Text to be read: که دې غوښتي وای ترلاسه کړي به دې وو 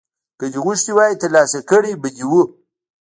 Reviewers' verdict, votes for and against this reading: rejected, 1, 2